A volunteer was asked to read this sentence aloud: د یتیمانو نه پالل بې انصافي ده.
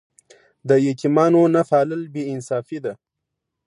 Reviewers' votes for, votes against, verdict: 2, 0, accepted